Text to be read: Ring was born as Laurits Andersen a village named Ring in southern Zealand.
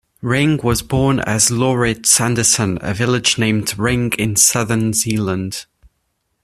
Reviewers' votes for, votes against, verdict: 2, 0, accepted